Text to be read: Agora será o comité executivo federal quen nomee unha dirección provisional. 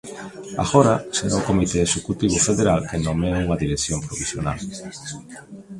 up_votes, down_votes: 2, 0